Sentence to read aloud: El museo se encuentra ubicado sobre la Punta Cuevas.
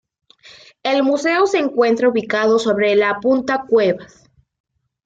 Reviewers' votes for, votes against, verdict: 2, 0, accepted